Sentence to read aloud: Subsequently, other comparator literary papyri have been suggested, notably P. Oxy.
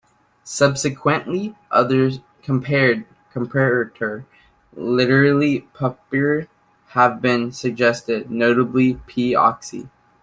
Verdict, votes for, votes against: rejected, 1, 2